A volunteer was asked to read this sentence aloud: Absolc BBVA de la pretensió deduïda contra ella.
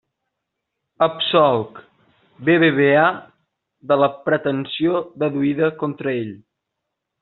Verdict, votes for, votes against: rejected, 0, 2